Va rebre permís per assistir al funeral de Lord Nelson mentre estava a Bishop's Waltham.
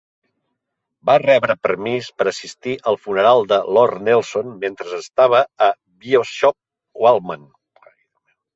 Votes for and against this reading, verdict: 1, 2, rejected